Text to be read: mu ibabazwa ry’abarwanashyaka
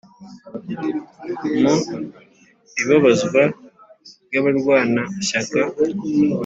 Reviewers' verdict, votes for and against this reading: accepted, 2, 0